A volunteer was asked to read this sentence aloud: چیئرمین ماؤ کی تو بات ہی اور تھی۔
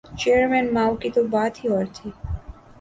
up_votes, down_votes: 3, 0